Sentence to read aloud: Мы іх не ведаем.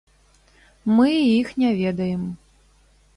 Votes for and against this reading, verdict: 2, 0, accepted